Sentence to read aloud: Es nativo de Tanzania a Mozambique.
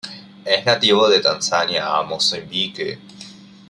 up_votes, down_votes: 2, 1